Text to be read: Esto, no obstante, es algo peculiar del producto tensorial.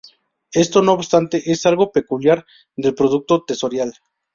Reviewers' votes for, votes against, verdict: 0, 2, rejected